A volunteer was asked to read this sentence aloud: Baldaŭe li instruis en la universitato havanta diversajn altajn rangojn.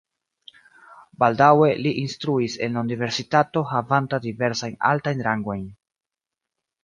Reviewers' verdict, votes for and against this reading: accepted, 3, 0